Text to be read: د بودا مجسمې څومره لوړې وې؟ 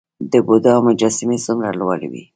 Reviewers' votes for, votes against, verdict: 0, 2, rejected